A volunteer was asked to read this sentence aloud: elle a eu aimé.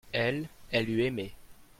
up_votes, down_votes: 1, 2